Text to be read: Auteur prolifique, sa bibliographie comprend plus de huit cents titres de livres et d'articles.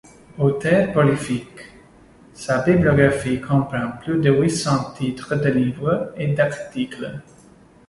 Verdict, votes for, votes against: rejected, 0, 2